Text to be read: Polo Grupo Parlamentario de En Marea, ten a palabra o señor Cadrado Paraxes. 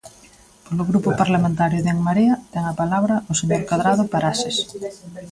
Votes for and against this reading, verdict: 1, 2, rejected